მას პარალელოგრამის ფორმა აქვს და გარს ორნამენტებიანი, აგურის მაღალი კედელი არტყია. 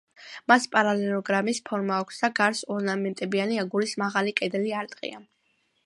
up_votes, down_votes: 2, 0